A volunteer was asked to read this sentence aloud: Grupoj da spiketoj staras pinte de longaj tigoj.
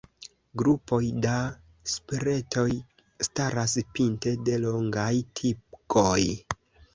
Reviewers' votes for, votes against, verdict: 2, 1, accepted